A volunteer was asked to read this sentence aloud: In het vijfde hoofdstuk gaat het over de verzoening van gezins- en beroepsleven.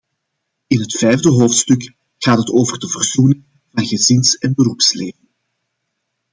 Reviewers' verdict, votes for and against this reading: rejected, 0, 2